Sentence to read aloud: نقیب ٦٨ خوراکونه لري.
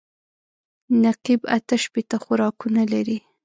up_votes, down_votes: 0, 2